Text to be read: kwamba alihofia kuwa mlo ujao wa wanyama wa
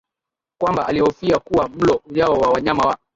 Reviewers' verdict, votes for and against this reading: accepted, 2, 1